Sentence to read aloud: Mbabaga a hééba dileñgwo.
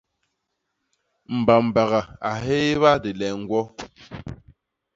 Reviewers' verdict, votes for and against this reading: accepted, 2, 0